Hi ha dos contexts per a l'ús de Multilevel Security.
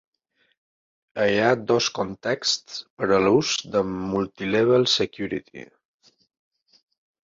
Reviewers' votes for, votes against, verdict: 1, 2, rejected